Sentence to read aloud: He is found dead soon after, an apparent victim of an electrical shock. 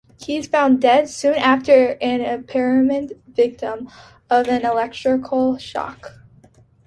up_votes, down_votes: 0, 2